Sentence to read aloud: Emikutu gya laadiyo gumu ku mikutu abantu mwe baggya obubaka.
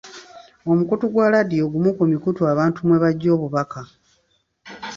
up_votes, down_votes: 0, 2